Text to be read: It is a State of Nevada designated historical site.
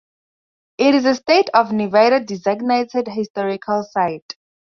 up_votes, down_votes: 0, 2